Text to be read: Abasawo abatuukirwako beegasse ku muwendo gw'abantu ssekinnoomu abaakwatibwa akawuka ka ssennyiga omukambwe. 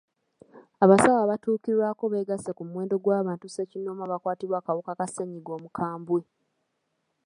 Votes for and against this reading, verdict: 2, 0, accepted